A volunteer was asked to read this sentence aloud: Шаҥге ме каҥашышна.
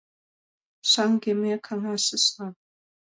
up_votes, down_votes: 2, 0